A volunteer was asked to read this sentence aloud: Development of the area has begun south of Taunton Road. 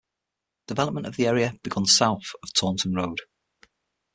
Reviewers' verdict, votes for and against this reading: rejected, 3, 6